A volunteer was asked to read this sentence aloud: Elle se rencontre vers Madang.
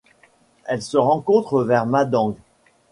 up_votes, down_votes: 2, 0